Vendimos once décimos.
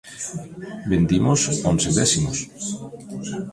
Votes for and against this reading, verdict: 2, 1, accepted